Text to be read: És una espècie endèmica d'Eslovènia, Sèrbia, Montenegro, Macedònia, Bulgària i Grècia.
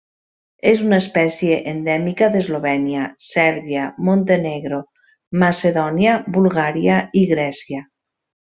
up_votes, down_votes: 2, 0